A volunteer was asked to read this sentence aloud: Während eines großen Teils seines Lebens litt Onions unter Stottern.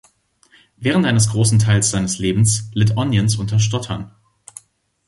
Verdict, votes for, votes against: accepted, 2, 0